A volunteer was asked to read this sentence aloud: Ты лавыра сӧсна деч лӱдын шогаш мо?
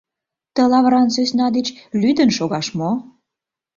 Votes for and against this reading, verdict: 0, 2, rejected